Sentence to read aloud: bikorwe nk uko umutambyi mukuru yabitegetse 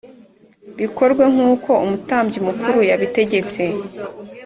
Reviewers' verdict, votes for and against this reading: rejected, 1, 2